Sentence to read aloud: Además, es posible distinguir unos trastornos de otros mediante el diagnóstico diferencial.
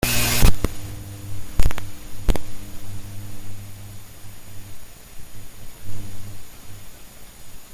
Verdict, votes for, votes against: rejected, 0, 2